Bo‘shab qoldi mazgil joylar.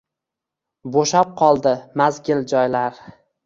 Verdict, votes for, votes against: rejected, 1, 2